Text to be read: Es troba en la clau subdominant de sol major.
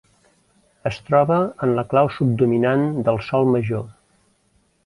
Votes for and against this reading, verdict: 1, 2, rejected